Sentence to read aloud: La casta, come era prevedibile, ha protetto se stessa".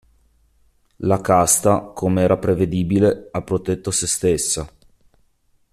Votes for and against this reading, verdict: 2, 0, accepted